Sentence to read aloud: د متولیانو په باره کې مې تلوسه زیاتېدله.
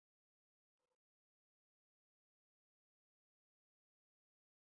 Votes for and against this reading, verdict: 1, 2, rejected